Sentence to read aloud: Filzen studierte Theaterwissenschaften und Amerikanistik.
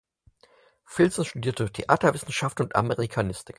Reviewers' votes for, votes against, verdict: 4, 2, accepted